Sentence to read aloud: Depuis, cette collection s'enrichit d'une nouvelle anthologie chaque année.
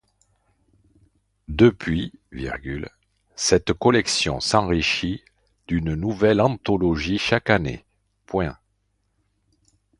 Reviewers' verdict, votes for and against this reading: rejected, 0, 2